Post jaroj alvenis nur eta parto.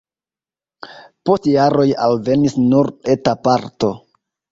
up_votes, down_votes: 1, 2